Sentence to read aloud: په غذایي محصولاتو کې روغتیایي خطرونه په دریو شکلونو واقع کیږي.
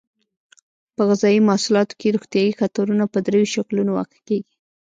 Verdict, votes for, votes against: rejected, 1, 2